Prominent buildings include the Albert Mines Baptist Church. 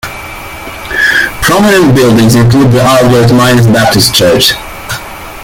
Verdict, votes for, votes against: accepted, 2, 1